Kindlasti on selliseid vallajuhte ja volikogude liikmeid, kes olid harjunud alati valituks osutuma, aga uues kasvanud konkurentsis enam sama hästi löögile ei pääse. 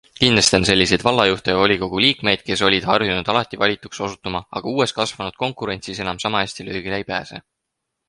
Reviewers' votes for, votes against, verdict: 4, 0, accepted